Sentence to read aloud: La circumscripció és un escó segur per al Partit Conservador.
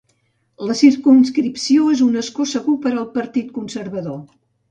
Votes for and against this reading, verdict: 2, 0, accepted